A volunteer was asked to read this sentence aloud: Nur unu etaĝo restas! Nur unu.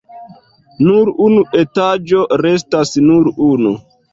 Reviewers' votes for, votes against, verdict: 2, 1, accepted